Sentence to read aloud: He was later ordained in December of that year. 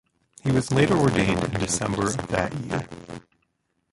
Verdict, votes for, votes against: rejected, 0, 2